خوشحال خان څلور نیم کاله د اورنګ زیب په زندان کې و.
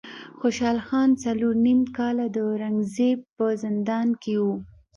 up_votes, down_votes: 2, 0